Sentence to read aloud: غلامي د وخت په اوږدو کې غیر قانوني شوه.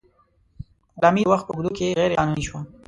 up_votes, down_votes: 0, 2